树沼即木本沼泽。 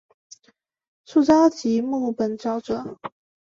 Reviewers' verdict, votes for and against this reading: accepted, 4, 0